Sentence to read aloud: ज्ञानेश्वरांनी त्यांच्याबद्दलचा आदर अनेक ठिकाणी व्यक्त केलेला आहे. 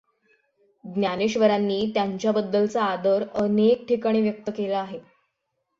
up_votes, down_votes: 6, 0